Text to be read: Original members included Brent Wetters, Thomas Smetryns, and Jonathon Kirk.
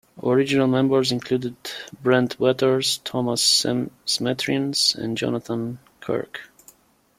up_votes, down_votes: 0, 2